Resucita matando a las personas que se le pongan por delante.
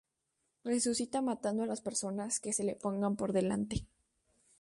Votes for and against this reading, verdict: 8, 0, accepted